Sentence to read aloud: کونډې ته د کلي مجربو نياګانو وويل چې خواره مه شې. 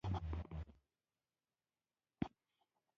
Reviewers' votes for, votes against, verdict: 1, 2, rejected